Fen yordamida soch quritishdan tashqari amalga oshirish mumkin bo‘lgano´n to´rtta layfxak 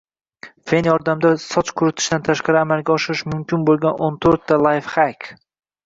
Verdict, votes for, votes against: rejected, 0, 2